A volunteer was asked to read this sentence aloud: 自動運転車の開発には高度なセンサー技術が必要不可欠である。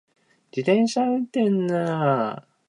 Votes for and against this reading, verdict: 0, 2, rejected